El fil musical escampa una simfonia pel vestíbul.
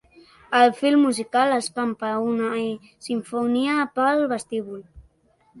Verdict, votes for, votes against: rejected, 0, 2